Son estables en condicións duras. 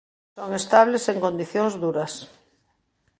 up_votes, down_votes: 0, 2